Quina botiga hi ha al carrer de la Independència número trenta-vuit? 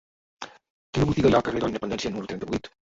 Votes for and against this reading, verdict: 1, 2, rejected